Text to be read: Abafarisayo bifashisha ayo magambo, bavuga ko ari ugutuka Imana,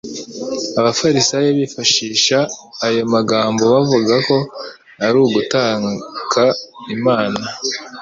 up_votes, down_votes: 1, 2